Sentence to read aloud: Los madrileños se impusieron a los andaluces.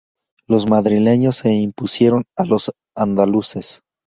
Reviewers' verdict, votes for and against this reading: accepted, 2, 0